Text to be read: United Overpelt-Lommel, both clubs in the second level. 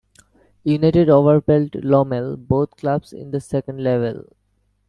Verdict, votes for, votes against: accepted, 2, 0